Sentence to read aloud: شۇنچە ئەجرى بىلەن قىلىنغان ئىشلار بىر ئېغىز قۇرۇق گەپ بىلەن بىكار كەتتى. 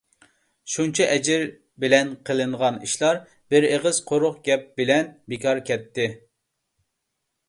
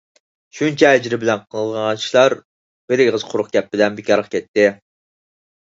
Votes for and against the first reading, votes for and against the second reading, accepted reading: 2, 1, 2, 4, first